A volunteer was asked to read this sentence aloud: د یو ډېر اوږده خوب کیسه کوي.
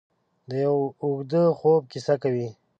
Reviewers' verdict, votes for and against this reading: rejected, 0, 2